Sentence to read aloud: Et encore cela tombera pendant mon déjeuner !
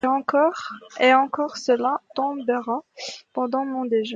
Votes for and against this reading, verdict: 0, 2, rejected